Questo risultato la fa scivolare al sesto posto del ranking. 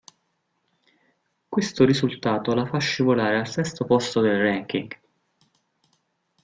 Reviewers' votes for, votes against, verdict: 0, 2, rejected